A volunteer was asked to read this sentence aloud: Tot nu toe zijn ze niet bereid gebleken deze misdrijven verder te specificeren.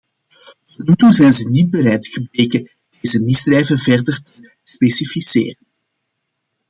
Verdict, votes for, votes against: rejected, 0, 2